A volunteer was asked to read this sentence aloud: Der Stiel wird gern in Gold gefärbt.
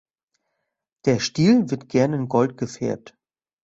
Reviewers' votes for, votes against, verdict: 2, 0, accepted